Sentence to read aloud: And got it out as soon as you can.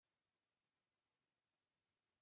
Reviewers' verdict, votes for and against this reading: rejected, 0, 2